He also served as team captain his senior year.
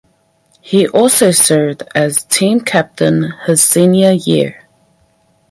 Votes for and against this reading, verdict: 4, 0, accepted